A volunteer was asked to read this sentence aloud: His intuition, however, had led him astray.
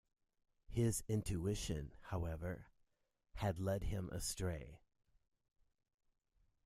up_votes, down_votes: 2, 1